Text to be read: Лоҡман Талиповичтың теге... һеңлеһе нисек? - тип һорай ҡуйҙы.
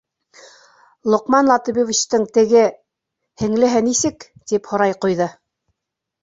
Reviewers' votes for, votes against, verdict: 1, 2, rejected